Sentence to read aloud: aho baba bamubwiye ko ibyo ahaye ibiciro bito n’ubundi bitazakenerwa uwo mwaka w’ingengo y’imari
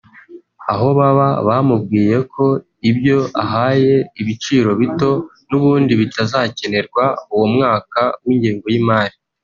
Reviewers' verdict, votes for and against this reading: accepted, 2, 1